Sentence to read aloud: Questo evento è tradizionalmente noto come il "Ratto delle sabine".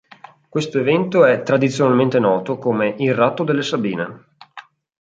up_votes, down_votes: 2, 0